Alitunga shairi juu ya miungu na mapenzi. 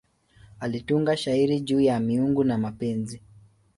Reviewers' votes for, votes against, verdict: 2, 0, accepted